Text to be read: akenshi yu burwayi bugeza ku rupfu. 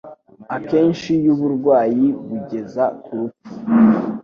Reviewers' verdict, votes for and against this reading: accepted, 3, 0